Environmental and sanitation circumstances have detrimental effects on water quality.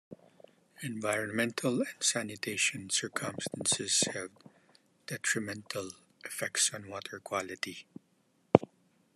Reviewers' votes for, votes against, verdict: 1, 2, rejected